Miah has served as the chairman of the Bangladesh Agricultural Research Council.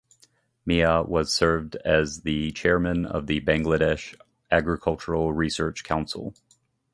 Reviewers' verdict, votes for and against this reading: rejected, 0, 2